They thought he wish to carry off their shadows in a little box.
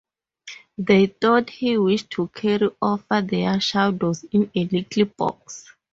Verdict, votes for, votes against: rejected, 0, 2